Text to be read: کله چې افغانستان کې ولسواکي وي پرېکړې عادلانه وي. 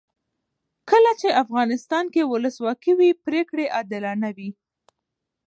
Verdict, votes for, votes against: rejected, 1, 2